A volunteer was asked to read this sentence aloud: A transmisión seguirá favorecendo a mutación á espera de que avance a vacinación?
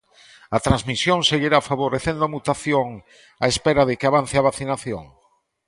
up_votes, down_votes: 2, 0